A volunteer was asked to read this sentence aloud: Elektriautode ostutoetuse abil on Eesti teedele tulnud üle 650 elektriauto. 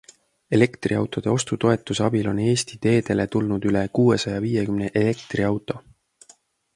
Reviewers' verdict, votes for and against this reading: rejected, 0, 2